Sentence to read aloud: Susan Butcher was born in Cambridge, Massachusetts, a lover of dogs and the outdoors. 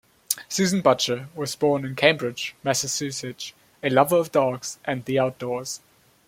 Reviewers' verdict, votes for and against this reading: rejected, 0, 2